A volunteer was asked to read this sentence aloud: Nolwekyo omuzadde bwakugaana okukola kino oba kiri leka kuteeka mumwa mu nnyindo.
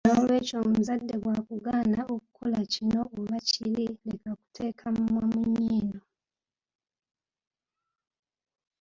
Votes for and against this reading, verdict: 1, 2, rejected